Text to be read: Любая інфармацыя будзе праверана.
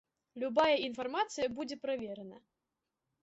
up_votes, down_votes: 2, 0